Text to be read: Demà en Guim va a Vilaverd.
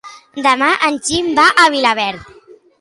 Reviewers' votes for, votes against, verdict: 0, 2, rejected